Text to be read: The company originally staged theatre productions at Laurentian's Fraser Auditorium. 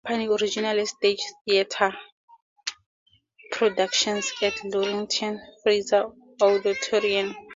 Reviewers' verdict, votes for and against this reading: rejected, 0, 2